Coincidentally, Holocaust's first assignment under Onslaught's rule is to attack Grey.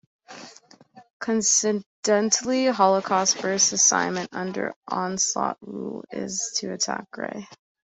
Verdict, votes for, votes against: rejected, 2, 3